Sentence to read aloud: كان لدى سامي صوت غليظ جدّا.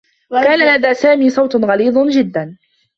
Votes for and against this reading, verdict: 2, 1, accepted